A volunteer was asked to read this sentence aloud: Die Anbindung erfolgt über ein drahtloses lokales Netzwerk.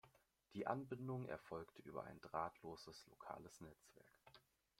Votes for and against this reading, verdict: 2, 1, accepted